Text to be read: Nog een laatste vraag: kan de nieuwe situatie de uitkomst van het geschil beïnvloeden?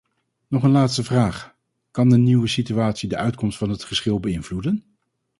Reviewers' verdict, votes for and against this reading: accepted, 4, 0